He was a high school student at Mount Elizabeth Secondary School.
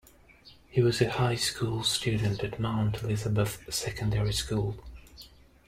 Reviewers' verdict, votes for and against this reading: rejected, 0, 2